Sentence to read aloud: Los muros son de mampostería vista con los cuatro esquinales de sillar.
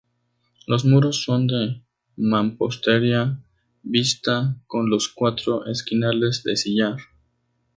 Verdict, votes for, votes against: accepted, 2, 0